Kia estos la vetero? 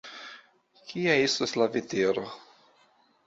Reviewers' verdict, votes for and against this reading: accepted, 2, 1